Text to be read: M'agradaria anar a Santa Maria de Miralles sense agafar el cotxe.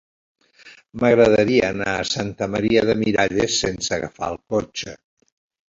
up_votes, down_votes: 5, 0